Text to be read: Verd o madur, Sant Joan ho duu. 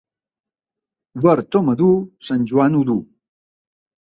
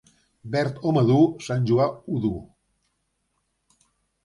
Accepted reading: first